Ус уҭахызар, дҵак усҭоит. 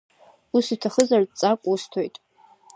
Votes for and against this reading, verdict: 2, 0, accepted